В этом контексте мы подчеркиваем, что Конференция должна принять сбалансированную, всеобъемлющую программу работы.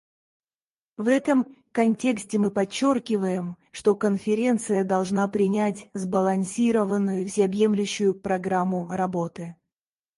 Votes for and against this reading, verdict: 2, 4, rejected